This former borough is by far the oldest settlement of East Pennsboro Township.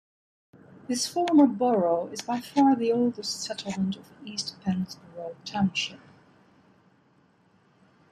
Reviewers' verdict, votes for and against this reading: accepted, 2, 0